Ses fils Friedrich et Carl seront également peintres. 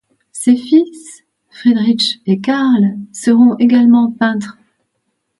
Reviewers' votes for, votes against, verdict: 2, 0, accepted